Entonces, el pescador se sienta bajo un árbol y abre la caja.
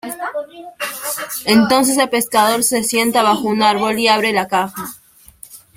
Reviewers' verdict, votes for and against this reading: accepted, 2, 0